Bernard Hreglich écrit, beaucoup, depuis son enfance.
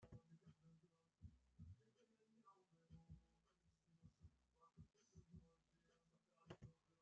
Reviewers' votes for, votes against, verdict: 0, 2, rejected